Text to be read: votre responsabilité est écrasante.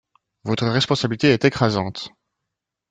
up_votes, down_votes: 1, 2